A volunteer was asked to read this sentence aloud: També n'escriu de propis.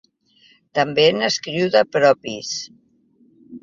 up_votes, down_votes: 2, 0